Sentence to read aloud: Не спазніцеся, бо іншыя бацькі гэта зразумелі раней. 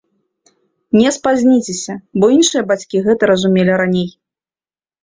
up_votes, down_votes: 0, 2